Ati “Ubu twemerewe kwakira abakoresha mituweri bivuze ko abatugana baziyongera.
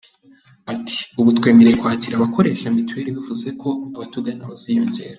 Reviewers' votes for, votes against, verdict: 3, 0, accepted